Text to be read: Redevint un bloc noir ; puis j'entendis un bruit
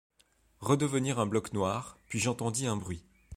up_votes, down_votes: 1, 3